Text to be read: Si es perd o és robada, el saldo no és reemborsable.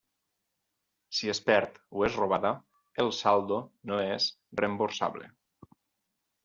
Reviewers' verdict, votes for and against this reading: accepted, 4, 0